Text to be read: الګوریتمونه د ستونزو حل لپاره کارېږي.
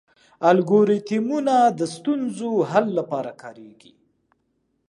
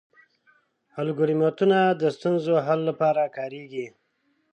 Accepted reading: first